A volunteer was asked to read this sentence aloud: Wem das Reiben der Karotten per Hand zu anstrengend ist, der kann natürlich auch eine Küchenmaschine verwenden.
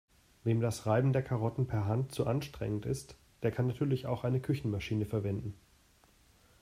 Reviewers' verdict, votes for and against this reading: accepted, 2, 0